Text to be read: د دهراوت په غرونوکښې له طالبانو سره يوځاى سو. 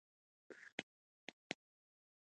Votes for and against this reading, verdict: 1, 2, rejected